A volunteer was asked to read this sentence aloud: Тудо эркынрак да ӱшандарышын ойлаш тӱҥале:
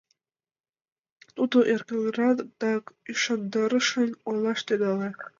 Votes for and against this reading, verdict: 1, 2, rejected